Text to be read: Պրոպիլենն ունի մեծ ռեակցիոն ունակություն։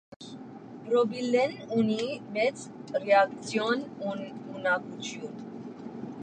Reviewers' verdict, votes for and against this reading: rejected, 0, 2